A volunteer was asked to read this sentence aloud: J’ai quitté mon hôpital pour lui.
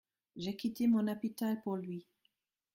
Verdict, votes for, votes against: accepted, 2, 0